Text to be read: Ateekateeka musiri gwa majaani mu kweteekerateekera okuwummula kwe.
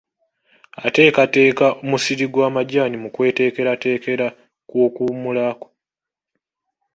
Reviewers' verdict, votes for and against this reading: rejected, 1, 2